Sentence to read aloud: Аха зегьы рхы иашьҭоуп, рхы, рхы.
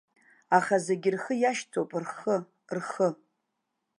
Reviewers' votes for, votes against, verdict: 2, 0, accepted